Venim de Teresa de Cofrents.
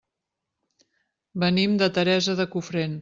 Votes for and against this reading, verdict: 0, 2, rejected